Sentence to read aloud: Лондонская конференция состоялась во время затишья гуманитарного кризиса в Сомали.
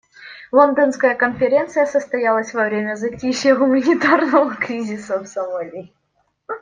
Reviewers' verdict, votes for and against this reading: rejected, 1, 2